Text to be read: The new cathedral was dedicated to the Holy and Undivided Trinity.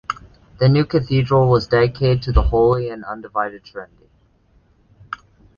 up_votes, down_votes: 1, 2